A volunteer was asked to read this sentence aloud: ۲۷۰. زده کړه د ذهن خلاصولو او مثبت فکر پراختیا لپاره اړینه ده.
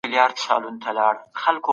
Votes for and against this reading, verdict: 0, 2, rejected